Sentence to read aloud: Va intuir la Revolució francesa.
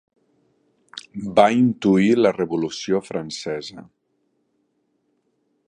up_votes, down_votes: 3, 0